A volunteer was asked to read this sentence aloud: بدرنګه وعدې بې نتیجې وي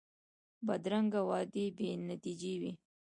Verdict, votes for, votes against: rejected, 1, 2